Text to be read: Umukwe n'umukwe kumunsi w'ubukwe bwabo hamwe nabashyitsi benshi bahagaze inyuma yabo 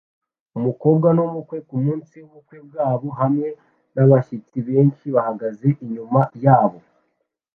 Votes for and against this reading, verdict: 2, 0, accepted